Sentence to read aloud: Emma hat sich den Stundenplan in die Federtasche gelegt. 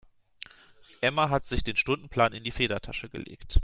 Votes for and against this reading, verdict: 2, 0, accepted